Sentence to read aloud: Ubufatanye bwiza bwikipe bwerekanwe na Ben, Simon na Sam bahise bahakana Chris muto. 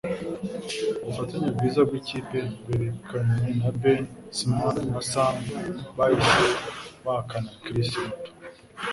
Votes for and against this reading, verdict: 2, 0, accepted